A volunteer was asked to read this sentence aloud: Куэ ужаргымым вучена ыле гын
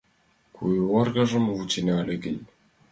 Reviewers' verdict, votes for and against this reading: accepted, 2, 1